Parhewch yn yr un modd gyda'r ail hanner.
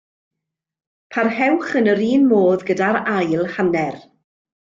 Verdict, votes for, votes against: accepted, 2, 0